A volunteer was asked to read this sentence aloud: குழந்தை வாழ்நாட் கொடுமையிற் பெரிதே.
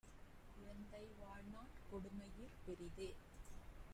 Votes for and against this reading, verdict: 0, 2, rejected